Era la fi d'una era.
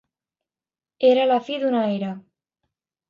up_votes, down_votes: 2, 0